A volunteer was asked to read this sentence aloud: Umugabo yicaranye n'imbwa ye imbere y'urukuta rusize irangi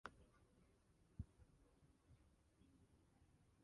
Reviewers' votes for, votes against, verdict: 0, 2, rejected